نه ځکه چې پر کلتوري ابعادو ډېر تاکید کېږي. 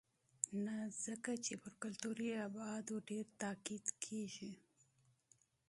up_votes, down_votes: 1, 2